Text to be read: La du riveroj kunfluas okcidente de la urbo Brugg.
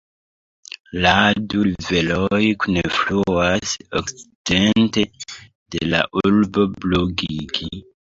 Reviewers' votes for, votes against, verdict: 1, 2, rejected